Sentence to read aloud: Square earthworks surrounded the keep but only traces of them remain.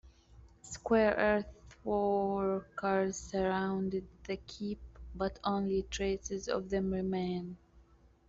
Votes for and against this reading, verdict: 0, 2, rejected